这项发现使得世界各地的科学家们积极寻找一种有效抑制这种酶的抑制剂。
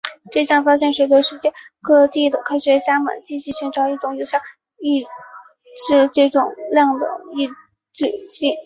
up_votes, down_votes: 0, 2